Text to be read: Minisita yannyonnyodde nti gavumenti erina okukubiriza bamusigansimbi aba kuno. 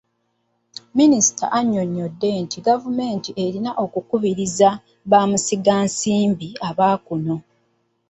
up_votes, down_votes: 2, 1